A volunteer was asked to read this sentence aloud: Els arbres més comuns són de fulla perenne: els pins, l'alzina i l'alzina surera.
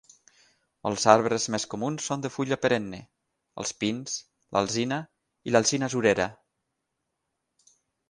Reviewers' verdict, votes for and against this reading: accepted, 9, 3